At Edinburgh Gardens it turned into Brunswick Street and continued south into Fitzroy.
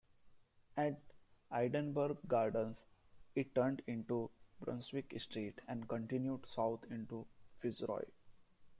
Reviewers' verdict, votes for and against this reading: rejected, 1, 2